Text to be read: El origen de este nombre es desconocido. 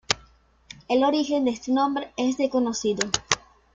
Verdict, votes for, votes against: rejected, 1, 2